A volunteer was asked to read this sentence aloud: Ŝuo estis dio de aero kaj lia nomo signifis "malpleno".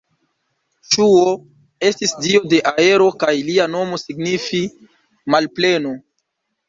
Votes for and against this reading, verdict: 1, 2, rejected